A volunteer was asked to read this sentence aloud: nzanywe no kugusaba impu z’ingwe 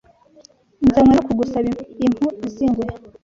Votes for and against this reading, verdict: 1, 2, rejected